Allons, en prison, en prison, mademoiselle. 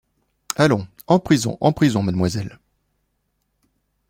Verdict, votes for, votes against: accepted, 2, 0